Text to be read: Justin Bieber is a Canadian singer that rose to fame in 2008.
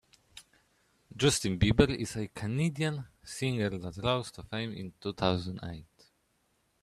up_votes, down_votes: 0, 2